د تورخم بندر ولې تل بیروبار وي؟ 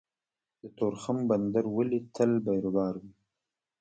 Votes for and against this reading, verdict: 1, 2, rejected